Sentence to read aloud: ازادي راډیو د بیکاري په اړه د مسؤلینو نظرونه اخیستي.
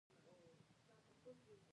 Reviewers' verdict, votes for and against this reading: rejected, 1, 2